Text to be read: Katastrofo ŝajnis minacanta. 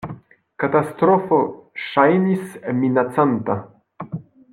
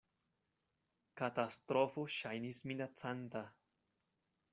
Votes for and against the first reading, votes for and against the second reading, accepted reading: 2, 1, 1, 2, first